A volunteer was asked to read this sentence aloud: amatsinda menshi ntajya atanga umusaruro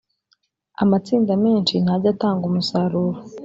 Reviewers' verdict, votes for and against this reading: accepted, 2, 0